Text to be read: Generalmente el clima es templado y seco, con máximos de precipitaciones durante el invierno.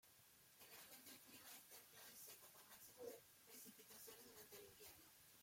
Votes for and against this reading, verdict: 0, 2, rejected